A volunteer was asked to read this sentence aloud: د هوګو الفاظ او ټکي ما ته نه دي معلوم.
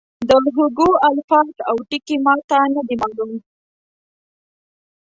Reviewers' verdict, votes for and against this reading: accepted, 2, 1